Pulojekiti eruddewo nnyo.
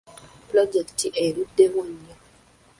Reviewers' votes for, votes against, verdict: 2, 0, accepted